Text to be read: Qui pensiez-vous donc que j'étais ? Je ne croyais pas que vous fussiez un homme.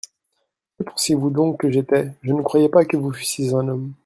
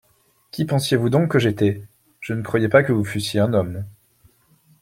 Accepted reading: second